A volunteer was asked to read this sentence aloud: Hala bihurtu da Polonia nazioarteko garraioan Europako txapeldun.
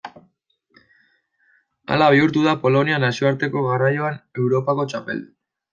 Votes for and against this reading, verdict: 2, 0, accepted